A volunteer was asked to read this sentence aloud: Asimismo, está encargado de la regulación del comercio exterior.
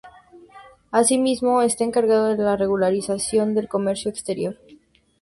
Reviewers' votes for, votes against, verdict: 2, 0, accepted